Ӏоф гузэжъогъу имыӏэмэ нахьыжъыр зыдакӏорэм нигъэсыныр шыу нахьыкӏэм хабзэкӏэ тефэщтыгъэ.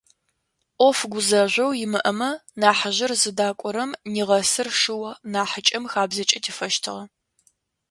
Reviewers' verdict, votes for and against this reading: accepted, 2, 0